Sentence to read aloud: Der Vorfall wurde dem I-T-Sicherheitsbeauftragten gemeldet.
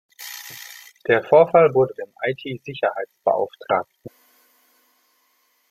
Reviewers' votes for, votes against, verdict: 0, 2, rejected